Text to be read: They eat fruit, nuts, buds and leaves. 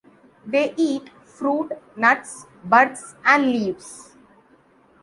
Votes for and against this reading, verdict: 2, 0, accepted